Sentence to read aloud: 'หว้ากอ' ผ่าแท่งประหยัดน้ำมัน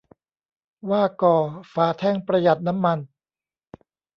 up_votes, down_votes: 2, 3